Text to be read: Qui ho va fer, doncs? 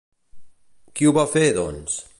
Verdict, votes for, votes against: accepted, 2, 0